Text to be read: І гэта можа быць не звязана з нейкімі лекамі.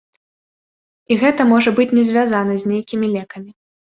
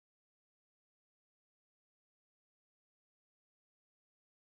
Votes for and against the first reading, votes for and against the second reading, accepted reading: 2, 0, 0, 2, first